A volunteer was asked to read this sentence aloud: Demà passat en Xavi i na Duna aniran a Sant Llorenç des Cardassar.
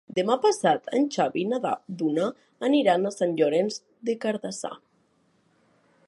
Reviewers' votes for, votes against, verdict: 0, 4, rejected